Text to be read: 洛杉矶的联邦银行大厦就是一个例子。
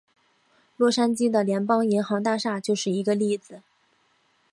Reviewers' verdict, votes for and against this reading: rejected, 2, 2